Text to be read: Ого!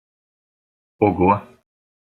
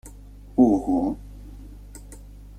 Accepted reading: first